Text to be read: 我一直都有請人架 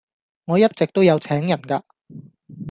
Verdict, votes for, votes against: rejected, 0, 2